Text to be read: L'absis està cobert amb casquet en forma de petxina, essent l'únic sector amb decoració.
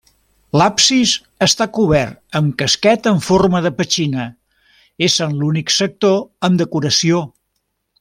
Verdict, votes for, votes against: rejected, 0, 2